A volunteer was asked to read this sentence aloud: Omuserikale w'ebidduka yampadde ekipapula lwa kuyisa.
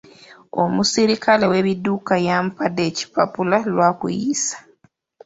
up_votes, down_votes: 1, 2